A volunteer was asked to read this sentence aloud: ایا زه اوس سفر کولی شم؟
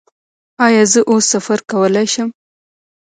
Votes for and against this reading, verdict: 0, 2, rejected